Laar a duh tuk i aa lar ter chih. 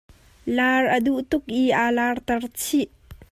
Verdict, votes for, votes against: accepted, 2, 0